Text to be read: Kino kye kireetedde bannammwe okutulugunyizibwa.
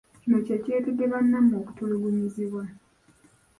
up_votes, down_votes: 0, 2